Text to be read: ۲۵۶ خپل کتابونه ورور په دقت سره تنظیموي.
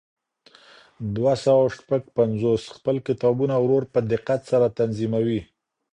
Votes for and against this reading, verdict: 0, 2, rejected